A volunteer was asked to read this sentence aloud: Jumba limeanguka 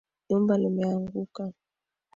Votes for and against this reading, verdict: 3, 2, accepted